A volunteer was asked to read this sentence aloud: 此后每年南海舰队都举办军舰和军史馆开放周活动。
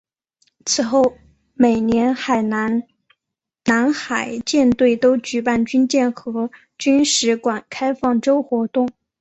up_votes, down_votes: 0, 4